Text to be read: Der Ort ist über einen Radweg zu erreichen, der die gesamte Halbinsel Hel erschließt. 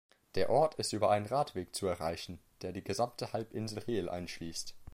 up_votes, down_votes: 1, 2